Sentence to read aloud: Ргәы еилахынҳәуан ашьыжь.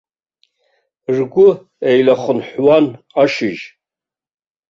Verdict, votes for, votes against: rejected, 1, 2